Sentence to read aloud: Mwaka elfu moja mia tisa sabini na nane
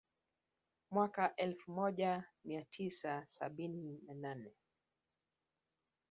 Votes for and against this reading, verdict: 2, 1, accepted